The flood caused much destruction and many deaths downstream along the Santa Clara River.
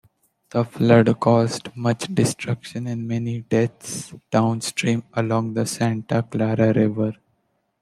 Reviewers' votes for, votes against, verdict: 2, 0, accepted